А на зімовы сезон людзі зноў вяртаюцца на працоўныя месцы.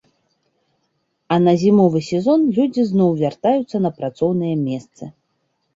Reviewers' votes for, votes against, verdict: 2, 0, accepted